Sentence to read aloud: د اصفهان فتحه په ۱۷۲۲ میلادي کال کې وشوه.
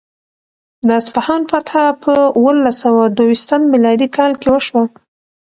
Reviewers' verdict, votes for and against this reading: rejected, 0, 2